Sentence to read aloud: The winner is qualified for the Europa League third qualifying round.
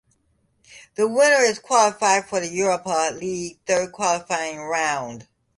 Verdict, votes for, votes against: accepted, 3, 2